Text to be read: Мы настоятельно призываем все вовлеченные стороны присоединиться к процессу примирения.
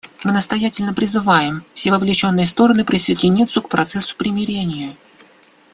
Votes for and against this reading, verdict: 0, 2, rejected